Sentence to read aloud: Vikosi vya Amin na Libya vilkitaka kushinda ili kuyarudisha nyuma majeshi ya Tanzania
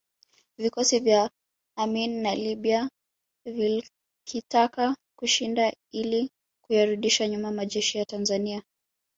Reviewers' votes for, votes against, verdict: 2, 1, accepted